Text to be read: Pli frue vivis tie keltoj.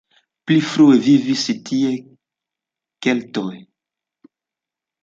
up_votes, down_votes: 2, 0